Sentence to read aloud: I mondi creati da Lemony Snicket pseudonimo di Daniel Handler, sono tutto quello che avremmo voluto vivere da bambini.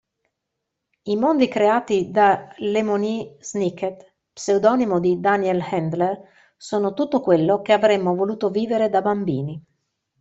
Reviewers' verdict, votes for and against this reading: accepted, 2, 0